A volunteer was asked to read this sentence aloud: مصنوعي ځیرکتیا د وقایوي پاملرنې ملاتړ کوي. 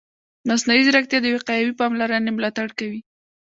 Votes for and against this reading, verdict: 2, 0, accepted